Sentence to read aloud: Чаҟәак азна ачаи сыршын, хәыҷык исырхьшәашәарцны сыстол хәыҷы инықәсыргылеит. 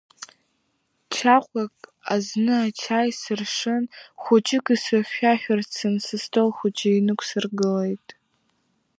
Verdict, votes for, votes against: rejected, 1, 2